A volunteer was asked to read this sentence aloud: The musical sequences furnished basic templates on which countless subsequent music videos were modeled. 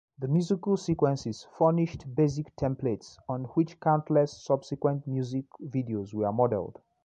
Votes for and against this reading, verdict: 2, 0, accepted